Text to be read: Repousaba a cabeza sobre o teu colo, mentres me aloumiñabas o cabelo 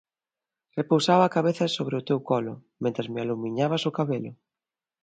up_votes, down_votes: 2, 0